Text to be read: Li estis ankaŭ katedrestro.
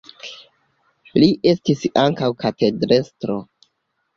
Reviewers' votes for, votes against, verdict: 0, 2, rejected